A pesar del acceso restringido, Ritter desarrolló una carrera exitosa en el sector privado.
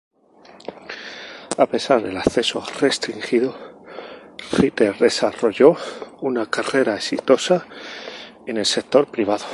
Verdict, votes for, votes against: rejected, 0, 2